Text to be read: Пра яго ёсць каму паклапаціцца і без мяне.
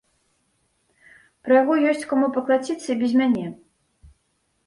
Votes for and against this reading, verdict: 1, 2, rejected